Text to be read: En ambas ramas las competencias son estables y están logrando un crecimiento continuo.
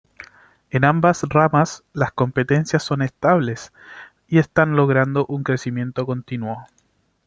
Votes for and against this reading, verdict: 2, 0, accepted